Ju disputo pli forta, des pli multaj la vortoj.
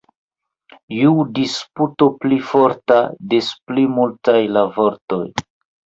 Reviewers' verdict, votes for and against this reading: rejected, 0, 2